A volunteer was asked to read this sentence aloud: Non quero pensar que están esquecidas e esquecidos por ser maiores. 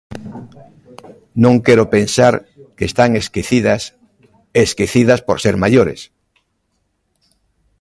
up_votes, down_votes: 0, 2